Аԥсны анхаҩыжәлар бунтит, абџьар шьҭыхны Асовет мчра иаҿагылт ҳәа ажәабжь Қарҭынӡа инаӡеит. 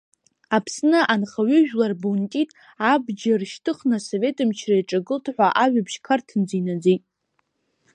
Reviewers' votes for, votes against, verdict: 1, 2, rejected